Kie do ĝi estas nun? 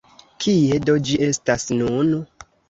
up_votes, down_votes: 0, 2